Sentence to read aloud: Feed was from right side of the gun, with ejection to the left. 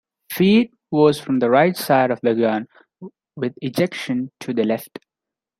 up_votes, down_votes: 3, 0